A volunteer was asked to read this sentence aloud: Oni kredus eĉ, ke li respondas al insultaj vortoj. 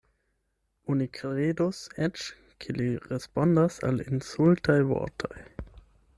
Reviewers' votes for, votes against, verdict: 8, 0, accepted